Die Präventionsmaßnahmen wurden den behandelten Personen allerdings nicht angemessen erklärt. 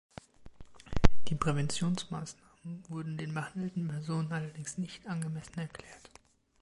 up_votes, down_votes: 2, 0